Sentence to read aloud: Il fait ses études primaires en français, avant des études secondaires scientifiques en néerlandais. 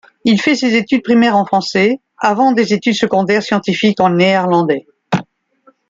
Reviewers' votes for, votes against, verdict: 2, 0, accepted